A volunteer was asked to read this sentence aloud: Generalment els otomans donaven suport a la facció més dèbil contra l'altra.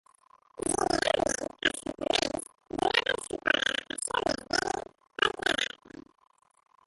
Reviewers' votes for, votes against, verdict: 0, 2, rejected